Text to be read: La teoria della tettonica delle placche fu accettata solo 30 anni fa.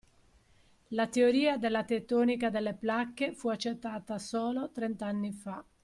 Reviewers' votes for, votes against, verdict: 0, 2, rejected